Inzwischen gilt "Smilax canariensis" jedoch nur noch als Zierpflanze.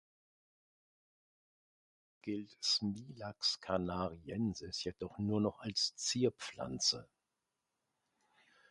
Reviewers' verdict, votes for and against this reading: rejected, 0, 2